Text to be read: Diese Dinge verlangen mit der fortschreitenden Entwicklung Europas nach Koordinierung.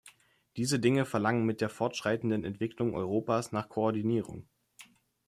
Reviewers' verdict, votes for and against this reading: accepted, 2, 0